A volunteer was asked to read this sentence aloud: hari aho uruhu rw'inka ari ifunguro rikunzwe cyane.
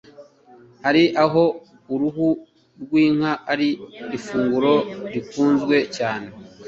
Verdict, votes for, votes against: accepted, 2, 0